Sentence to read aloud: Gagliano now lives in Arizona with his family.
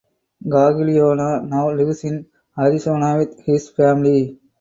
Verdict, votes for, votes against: accepted, 4, 0